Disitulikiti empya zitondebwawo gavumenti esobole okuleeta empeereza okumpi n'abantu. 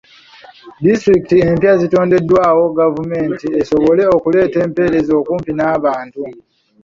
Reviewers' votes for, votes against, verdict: 0, 2, rejected